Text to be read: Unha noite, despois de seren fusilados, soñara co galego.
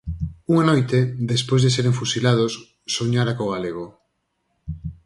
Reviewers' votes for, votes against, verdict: 4, 0, accepted